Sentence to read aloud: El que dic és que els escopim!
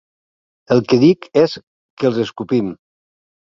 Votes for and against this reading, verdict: 12, 2, accepted